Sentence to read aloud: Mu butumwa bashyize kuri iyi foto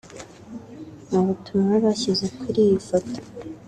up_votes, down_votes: 1, 2